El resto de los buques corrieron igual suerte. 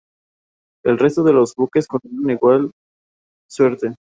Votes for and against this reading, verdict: 2, 2, rejected